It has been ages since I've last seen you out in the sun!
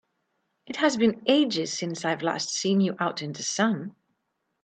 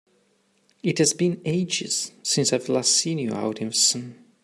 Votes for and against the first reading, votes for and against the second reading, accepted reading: 2, 0, 0, 2, first